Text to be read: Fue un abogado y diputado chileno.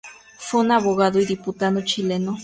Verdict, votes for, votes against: accepted, 4, 2